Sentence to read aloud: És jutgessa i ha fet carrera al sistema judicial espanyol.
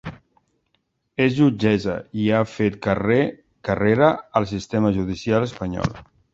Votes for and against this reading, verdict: 0, 2, rejected